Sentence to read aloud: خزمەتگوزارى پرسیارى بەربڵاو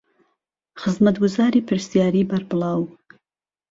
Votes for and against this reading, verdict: 2, 0, accepted